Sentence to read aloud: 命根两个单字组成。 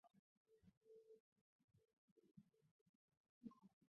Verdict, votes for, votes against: rejected, 1, 2